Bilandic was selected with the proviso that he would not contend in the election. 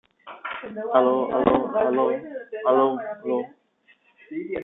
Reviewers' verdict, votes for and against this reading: rejected, 0, 2